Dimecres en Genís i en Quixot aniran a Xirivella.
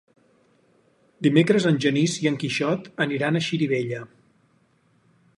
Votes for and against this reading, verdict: 4, 0, accepted